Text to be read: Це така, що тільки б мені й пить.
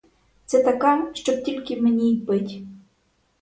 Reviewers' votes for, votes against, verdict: 0, 2, rejected